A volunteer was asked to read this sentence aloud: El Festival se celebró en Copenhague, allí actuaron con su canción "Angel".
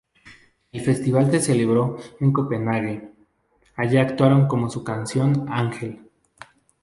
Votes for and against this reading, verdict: 0, 2, rejected